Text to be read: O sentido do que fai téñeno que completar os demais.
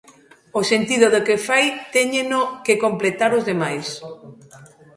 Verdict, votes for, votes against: rejected, 0, 2